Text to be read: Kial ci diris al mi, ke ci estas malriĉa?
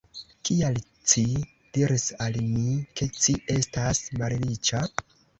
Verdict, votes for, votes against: rejected, 1, 2